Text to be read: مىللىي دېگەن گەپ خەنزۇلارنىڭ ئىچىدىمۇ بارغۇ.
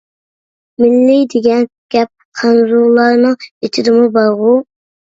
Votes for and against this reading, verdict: 1, 2, rejected